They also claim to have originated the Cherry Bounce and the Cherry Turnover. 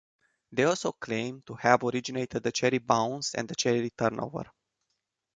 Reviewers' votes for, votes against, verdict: 2, 0, accepted